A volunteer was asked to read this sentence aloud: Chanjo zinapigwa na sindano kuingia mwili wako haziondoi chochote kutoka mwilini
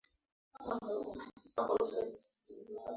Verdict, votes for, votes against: rejected, 0, 2